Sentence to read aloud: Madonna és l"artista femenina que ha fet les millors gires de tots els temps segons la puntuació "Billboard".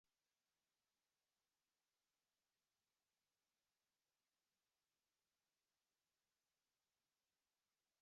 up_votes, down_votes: 1, 2